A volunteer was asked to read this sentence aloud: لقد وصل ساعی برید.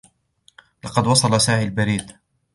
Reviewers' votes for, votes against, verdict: 2, 1, accepted